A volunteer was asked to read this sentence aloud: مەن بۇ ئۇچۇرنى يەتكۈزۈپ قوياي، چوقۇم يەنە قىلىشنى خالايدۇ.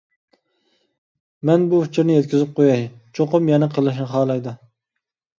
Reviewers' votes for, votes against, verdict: 2, 0, accepted